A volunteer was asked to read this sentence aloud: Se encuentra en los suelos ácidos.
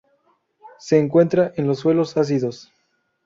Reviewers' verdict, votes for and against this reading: accepted, 2, 0